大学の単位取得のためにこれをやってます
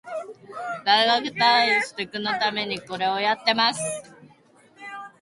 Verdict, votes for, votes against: rejected, 1, 2